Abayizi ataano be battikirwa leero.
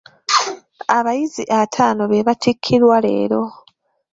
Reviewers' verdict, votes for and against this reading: rejected, 0, 2